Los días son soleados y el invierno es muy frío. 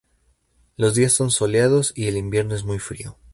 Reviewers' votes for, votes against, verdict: 2, 0, accepted